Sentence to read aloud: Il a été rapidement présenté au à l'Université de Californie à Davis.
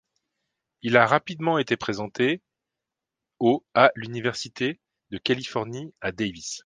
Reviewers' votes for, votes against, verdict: 1, 2, rejected